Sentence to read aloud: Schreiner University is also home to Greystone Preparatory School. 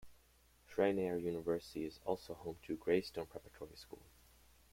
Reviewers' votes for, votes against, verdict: 1, 2, rejected